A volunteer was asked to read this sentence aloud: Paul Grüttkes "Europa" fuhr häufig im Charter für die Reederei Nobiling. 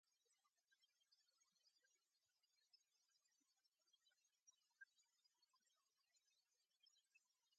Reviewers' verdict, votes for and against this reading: rejected, 0, 3